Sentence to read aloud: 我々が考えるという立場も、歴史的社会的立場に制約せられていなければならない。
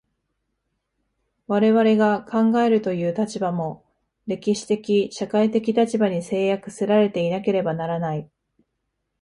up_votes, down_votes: 2, 0